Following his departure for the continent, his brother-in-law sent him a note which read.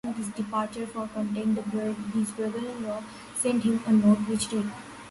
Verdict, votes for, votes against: rejected, 1, 2